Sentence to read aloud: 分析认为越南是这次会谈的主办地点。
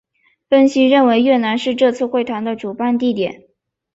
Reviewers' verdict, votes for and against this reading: accepted, 2, 0